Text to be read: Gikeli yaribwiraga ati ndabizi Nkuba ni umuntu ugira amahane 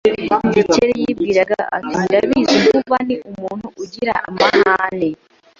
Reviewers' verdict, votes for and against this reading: rejected, 1, 2